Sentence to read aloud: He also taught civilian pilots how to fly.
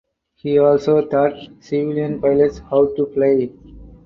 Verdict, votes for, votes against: accepted, 4, 0